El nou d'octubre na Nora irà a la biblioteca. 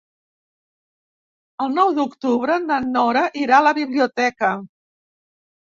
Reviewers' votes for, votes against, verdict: 0, 2, rejected